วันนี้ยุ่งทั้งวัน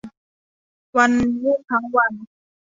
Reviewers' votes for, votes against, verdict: 1, 2, rejected